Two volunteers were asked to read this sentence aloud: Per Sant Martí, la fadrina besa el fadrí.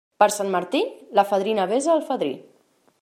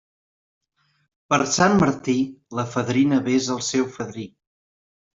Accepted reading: first